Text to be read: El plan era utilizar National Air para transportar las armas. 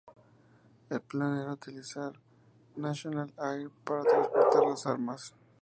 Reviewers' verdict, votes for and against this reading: rejected, 2, 2